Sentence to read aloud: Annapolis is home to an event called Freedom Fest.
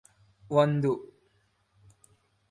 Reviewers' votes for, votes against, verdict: 0, 2, rejected